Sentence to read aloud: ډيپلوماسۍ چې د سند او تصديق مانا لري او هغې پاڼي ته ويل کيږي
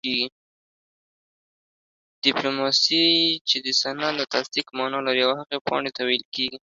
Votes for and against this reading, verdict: 1, 2, rejected